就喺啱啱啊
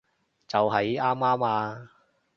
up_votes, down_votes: 3, 0